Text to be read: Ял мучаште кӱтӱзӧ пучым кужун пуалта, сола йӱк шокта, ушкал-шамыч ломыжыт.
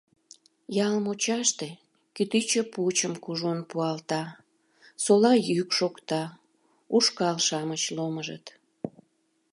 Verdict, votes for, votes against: rejected, 0, 2